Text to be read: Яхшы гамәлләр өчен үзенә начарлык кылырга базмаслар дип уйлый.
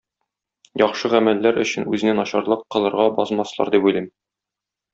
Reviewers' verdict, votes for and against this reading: rejected, 1, 2